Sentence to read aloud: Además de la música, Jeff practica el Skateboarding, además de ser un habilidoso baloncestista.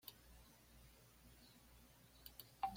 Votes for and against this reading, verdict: 1, 2, rejected